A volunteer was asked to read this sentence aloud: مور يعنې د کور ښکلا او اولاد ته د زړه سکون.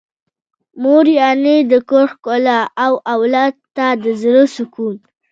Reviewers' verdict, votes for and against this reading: accepted, 2, 0